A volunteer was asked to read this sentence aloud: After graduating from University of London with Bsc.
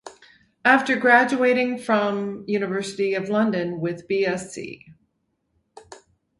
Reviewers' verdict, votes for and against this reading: rejected, 2, 4